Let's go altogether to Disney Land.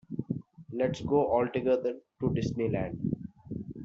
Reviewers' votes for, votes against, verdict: 0, 2, rejected